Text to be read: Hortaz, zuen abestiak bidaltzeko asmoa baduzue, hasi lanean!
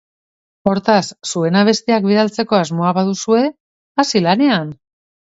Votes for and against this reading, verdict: 2, 0, accepted